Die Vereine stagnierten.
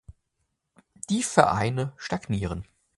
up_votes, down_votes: 0, 2